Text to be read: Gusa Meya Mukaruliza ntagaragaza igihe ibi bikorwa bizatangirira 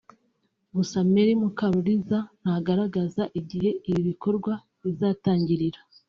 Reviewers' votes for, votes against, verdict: 2, 0, accepted